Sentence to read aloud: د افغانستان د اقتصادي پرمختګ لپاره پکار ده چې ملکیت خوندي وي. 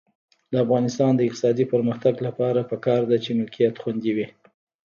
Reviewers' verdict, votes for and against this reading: rejected, 0, 2